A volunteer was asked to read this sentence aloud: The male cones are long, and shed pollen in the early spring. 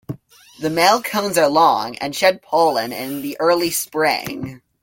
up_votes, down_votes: 2, 0